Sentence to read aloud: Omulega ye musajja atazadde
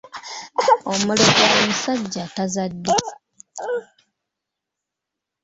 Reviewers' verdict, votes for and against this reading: rejected, 0, 2